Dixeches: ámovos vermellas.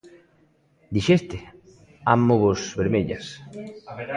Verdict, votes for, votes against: rejected, 0, 2